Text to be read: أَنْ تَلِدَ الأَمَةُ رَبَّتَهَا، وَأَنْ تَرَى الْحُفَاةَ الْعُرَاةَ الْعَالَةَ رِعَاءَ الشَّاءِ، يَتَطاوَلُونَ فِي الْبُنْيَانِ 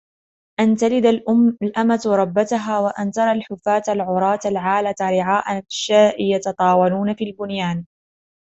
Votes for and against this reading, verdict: 0, 2, rejected